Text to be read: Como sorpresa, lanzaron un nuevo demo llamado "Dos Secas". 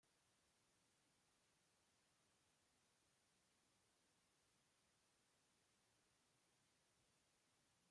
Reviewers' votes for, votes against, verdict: 0, 2, rejected